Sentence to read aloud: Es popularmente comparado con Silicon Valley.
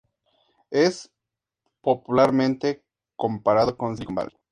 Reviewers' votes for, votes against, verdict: 2, 0, accepted